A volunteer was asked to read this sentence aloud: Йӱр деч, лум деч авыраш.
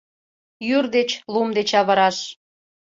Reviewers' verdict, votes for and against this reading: accepted, 2, 0